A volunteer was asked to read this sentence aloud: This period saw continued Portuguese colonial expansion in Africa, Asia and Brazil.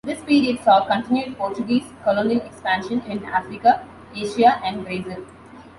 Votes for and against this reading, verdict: 3, 0, accepted